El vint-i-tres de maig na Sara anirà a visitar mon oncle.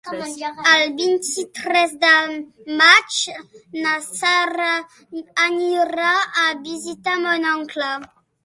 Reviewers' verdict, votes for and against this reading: rejected, 0, 2